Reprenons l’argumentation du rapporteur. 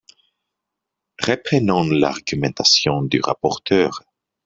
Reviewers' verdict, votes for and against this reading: rejected, 2, 3